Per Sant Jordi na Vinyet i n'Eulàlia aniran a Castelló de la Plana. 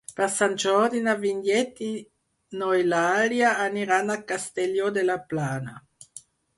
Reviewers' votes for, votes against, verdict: 2, 4, rejected